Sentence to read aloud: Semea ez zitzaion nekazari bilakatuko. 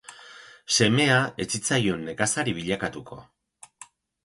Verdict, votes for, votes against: rejected, 2, 2